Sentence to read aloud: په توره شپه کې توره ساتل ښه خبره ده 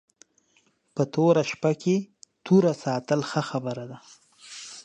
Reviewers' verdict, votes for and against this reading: accepted, 2, 0